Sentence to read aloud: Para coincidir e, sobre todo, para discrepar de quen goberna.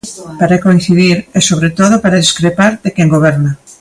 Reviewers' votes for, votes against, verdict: 2, 0, accepted